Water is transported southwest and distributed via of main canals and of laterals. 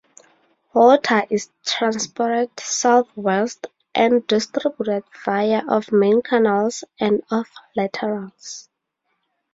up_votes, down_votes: 0, 4